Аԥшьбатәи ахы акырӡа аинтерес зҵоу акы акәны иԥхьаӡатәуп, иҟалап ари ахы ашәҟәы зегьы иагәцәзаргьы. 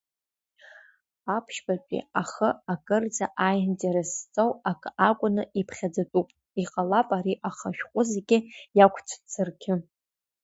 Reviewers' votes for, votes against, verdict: 2, 0, accepted